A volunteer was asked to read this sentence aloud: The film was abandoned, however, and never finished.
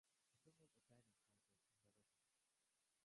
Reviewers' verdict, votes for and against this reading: rejected, 0, 2